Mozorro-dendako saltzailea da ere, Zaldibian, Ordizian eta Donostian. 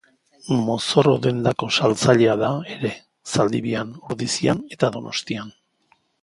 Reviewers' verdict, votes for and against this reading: accepted, 2, 0